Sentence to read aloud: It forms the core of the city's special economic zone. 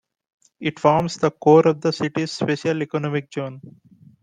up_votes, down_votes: 2, 1